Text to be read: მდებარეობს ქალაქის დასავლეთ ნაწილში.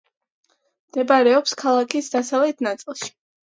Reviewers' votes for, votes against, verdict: 2, 0, accepted